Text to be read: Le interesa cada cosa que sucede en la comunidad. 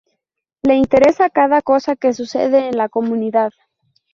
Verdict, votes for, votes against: accepted, 2, 0